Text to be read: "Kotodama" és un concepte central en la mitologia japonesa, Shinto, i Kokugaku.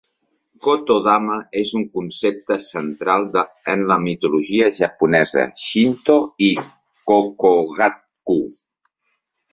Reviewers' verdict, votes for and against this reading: rejected, 0, 3